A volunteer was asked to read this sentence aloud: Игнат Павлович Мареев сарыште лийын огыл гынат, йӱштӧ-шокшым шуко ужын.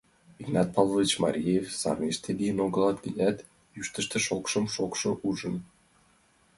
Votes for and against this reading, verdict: 1, 2, rejected